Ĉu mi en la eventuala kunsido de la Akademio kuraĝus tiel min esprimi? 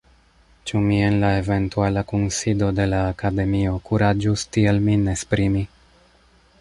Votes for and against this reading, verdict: 1, 2, rejected